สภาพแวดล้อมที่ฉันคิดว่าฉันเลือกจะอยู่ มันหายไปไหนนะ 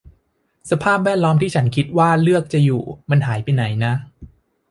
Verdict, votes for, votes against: rejected, 1, 2